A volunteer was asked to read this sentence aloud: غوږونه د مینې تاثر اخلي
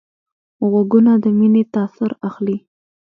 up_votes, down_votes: 2, 0